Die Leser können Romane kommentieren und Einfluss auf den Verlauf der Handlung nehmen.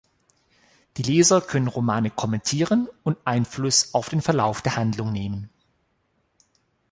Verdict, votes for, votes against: accepted, 2, 0